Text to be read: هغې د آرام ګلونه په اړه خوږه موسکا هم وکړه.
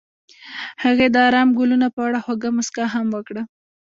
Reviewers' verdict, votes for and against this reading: rejected, 1, 2